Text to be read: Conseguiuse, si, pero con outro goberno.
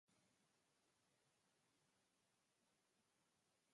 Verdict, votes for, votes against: rejected, 0, 2